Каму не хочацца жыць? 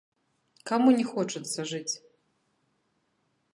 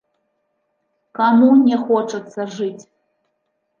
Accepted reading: second